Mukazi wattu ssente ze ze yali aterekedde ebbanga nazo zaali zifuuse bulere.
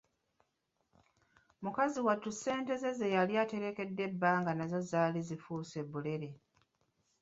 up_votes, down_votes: 2, 0